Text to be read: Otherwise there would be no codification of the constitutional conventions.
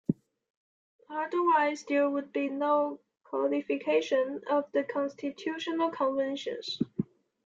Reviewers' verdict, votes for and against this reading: accepted, 2, 1